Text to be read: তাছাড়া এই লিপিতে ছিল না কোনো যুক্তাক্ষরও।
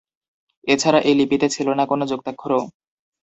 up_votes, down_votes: 0, 2